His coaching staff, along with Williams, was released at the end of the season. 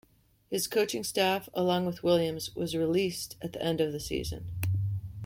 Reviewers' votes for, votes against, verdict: 2, 1, accepted